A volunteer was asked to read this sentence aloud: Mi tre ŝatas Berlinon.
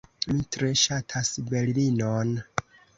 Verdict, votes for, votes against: accepted, 2, 0